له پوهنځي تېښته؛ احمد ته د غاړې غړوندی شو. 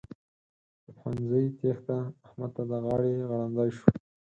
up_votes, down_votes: 4, 0